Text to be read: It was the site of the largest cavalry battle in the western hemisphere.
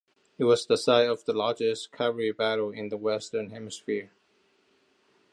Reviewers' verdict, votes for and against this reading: accepted, 2, 0